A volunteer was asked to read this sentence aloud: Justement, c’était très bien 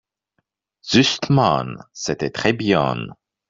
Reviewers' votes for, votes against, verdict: 1, 3, rejected